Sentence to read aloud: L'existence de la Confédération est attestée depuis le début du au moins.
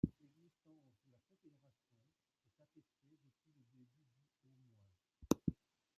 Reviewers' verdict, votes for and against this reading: rejected, 0, 2